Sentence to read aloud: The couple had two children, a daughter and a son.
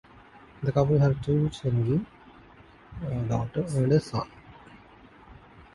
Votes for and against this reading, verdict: 2, 0, accepted